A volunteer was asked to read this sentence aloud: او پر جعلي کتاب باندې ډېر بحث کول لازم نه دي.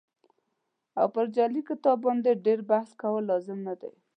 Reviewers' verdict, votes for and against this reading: accepted, 2, 0